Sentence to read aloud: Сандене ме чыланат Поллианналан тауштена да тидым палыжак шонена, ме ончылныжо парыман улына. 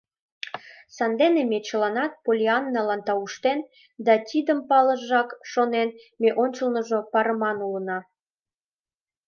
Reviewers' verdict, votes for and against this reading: rejected, 0, 2